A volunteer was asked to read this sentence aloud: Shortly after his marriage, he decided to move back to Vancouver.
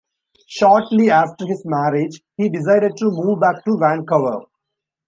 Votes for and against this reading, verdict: 2, 0, accepted